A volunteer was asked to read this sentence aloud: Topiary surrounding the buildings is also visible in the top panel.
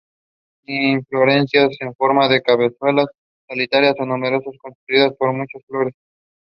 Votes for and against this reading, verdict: 0, 2, rejected